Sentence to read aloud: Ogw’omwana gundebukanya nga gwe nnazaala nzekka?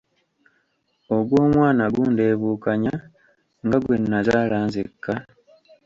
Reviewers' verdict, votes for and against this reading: rejected, 0, 2